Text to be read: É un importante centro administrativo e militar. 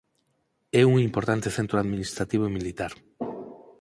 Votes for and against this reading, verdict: 4, 0, accepted